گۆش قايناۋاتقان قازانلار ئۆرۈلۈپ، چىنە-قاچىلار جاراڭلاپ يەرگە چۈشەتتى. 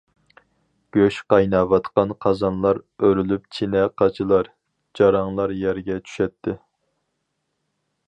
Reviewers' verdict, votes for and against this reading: accepted, 4, 2